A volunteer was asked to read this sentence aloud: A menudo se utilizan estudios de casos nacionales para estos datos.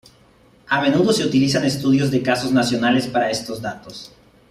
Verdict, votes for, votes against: accepted, 2, 0